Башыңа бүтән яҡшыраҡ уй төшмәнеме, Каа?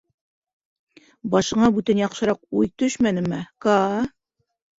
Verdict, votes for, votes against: accepted, 2, 0